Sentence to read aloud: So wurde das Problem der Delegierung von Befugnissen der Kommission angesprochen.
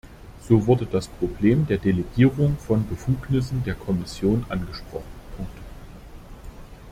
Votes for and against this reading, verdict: 0, 2, rejected